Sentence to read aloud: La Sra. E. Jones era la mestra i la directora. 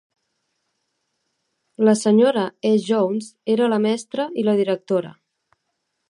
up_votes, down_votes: 3, 0